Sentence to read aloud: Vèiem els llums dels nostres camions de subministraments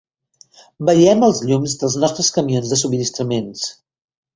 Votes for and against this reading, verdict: 0, 2, rejected